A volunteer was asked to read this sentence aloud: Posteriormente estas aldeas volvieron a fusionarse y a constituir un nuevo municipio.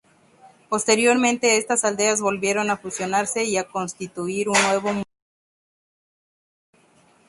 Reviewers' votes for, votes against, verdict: 0, 2, rejected